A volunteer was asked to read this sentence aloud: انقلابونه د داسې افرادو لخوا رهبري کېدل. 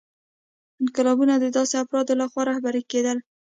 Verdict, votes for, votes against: accepted, 2, 0